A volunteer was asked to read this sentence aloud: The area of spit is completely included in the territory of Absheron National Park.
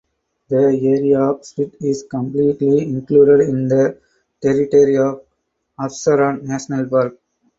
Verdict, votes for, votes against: accepted, 4, 2